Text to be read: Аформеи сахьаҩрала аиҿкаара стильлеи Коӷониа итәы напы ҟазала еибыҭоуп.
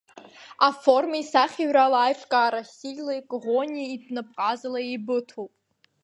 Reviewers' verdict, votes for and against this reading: rejected, 1, 2